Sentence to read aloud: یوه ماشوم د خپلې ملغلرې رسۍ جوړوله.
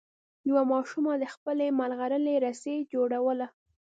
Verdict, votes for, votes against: rejected, 1, 2